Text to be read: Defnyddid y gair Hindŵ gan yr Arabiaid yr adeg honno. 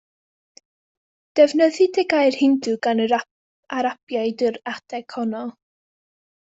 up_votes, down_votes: 2, 0